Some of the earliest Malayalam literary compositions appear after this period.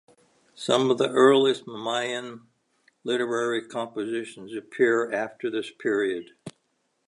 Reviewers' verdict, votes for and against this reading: rejected, 0, 2